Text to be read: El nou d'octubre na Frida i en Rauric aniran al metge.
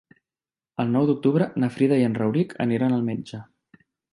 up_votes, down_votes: 3, 0